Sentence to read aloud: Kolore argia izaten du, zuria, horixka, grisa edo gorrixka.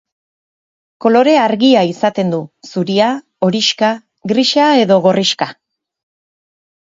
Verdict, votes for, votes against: accepted, 3, 0